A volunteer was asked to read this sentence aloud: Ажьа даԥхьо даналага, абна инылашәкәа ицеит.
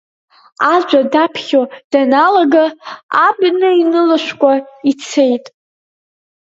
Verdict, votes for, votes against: rejected, 2, 4